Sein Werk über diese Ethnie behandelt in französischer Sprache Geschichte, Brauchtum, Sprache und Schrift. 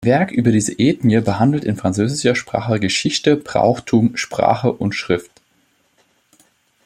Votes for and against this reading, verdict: 0, 2, rejected